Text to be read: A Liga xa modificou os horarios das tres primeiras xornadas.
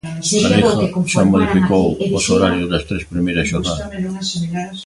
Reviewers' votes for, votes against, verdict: 0, 3, rejected